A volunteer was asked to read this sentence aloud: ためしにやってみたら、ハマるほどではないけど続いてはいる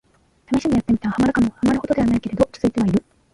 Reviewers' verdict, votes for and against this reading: rejected, 1, 2